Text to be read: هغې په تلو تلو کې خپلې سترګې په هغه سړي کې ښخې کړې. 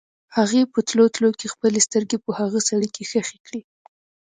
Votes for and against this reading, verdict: 2, 0, accepted